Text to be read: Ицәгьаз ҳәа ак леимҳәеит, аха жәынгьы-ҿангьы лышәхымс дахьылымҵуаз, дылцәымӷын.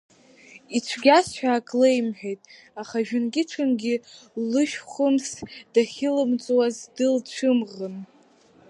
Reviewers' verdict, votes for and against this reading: rejected, 0, 2